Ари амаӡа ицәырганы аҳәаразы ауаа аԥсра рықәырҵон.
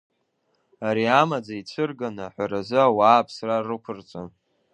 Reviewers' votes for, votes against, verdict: 2, 0, accepted